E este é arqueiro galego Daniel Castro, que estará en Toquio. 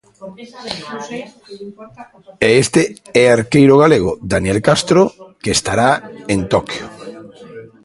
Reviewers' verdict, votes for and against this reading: rejected, 0, 2